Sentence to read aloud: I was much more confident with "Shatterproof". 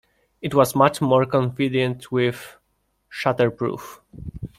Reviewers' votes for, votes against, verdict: 0, 2, rejected